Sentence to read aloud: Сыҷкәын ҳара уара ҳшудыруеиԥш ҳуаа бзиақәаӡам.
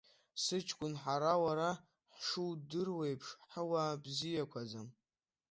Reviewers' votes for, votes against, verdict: 2, 0, accepted